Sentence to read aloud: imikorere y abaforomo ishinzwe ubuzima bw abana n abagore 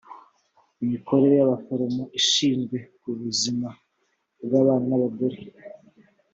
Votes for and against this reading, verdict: 4, 0, accepted